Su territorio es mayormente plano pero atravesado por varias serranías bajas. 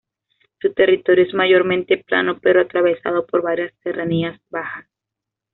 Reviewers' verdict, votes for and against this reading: rejected, 1, 2